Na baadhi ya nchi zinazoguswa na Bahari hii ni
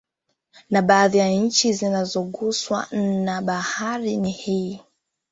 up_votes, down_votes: 2, 0